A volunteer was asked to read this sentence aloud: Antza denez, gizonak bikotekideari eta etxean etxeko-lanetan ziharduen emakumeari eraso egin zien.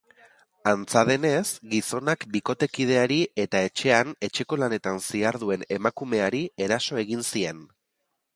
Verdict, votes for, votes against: accepted, 3, 0